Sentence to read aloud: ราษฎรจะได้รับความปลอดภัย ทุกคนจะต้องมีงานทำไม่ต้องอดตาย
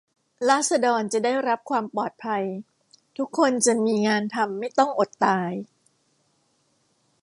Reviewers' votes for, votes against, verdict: 1, 2, rejected